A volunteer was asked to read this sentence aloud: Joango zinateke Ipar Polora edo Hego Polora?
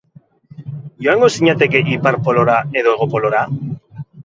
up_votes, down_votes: 2, 2